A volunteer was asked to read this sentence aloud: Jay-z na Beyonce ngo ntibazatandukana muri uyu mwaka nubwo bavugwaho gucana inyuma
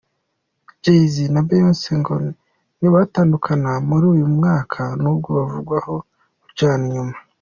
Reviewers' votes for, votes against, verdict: 0, 3, rejected